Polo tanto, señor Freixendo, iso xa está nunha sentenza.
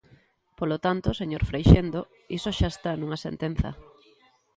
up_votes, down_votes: 2, 0